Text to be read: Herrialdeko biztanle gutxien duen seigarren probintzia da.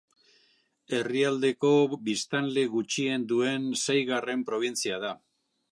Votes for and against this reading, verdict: 2, 0, accepted